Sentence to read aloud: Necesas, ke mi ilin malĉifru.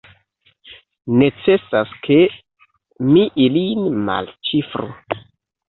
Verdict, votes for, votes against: rejected, 0, 2